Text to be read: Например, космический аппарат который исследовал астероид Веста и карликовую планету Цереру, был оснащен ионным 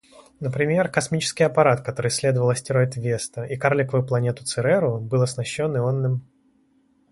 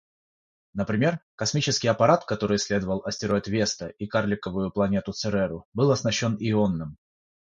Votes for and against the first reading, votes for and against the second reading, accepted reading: 2, 0, 3, 3, first